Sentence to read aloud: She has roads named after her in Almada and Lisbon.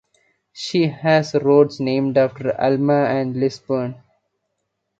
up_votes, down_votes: 0, 2